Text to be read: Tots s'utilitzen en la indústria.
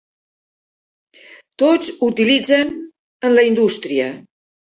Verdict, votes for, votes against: rejected, 0, 2